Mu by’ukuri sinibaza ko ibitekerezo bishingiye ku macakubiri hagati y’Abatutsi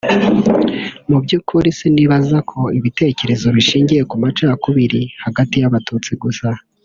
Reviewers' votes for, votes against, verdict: 1, 2, rejected